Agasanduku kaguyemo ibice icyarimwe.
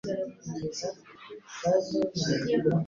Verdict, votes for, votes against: rejected, 0, 2